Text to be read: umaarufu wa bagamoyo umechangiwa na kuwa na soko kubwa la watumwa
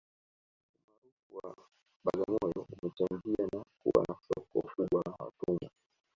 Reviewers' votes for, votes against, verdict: 0, 2, rejected